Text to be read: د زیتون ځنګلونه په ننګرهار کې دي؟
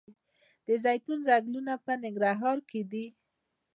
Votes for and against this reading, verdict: 2, 0, accepted